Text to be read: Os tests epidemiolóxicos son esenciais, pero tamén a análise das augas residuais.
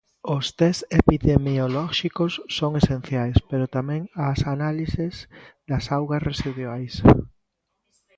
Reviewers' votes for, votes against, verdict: 0, 2, rejected